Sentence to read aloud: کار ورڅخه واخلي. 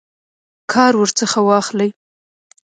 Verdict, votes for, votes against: accepted, 2, 0